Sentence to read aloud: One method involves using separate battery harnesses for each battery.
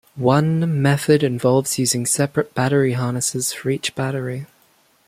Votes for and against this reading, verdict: 2, 1, accepted